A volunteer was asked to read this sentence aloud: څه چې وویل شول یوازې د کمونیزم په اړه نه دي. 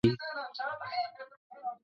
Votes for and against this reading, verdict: 1, 2, rejected